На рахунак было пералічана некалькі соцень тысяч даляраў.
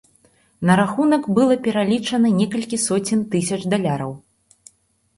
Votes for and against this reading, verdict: 0, 2, rejected